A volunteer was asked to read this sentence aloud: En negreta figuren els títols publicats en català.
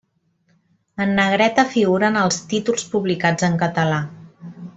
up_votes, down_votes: 2, 0